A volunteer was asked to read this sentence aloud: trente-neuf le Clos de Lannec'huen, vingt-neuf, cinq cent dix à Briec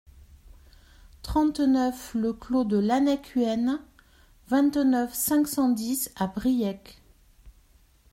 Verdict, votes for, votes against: rejected, 1, 2